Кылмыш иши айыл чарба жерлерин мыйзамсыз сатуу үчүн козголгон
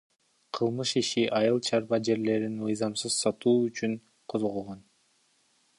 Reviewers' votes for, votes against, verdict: 3, 2, accepted